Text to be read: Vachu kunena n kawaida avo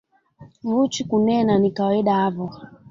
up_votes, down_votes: 2, 1